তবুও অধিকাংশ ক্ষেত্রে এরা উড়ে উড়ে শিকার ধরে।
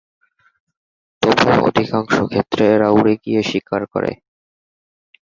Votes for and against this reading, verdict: 0, 2, rejected